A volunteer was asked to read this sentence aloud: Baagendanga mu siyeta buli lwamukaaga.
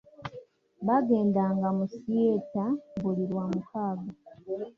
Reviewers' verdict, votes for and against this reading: rejected, 1, 2